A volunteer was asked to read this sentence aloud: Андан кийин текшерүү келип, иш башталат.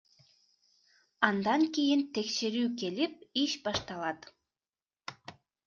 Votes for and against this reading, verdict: 2, 0, accepted